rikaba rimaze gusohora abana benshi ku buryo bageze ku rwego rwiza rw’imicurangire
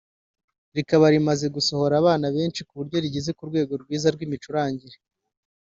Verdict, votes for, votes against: accepted, 2, 0